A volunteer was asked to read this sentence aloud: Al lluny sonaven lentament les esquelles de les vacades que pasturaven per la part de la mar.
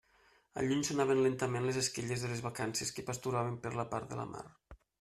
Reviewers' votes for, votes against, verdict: 0, 2, rejected